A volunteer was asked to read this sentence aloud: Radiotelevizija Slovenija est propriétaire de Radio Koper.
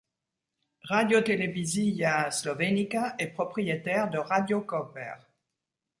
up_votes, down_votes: 0, 2